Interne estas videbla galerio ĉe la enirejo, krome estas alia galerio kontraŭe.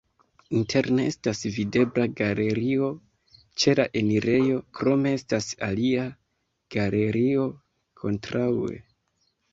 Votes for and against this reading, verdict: 0, 2, rejected